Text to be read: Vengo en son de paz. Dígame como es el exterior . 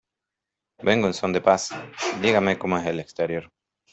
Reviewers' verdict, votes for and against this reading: accepted, 2, 1